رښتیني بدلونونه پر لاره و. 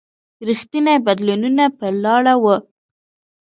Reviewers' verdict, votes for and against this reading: rejected, 1, 2